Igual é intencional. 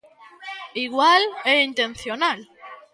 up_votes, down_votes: 1, 2